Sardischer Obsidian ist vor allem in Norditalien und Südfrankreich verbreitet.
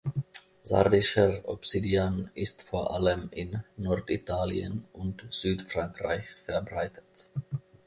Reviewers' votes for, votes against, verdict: 2, 0, accepted